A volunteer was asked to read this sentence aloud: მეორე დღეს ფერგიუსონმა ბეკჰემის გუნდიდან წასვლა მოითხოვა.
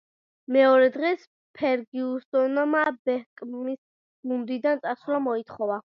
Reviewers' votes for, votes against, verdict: 1, 2, rejected